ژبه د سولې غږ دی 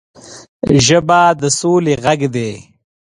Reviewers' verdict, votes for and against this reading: accepted, 3, 0